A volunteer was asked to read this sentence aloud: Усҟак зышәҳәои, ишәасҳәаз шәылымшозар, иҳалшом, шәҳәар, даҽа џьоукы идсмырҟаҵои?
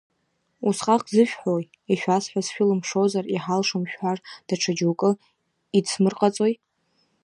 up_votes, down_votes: 0, 2